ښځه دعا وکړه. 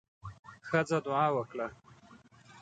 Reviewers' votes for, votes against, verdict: 1, 2, rejected